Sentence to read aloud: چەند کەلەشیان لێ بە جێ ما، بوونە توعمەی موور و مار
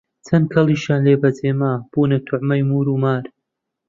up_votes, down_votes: 1, 2